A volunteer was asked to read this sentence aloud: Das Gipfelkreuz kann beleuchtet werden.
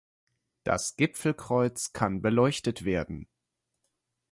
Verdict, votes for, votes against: accepted, 4, 0